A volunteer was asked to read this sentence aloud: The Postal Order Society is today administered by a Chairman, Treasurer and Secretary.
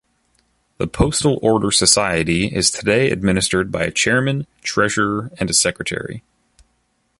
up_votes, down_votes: 0, 2